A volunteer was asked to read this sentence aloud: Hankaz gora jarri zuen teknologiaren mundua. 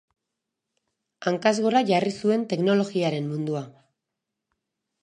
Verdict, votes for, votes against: accepted, 2, 0